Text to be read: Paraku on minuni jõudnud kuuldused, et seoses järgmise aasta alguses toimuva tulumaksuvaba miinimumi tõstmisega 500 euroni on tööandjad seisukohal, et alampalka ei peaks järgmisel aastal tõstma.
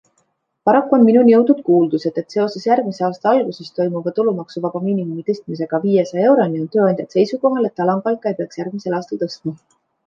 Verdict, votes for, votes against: rejected, 0, 2